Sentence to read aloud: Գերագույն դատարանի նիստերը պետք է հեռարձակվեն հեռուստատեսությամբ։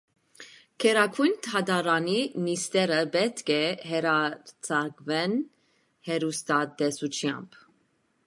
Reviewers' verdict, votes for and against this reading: rejected, 0, 2